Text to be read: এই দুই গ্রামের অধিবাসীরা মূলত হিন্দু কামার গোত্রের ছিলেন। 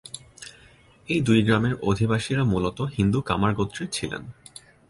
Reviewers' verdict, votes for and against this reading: accepted, 2, 0